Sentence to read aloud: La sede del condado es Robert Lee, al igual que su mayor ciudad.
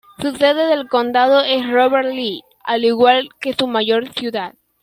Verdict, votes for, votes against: rejected, 1, 2